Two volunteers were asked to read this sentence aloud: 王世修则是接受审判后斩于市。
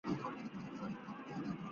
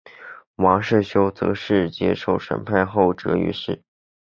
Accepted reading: second